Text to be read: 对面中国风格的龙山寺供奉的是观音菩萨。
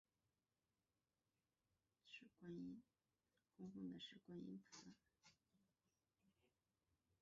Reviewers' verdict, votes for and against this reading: rejected, 0, 2